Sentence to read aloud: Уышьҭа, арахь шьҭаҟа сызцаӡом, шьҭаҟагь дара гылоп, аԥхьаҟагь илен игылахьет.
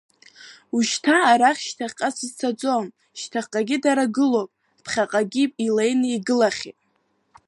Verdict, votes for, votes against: accepted, 3, 1